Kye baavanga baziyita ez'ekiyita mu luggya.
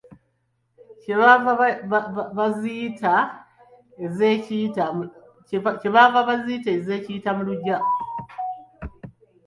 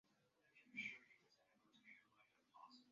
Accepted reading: first